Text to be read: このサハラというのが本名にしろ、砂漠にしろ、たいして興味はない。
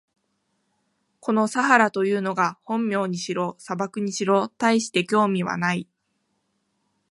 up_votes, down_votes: 2, 1